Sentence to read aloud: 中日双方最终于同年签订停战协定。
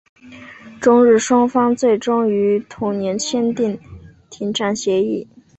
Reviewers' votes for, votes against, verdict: 0, 2, rejected